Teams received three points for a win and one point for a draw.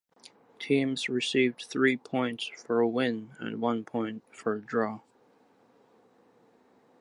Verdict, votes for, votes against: accepted, 2, 0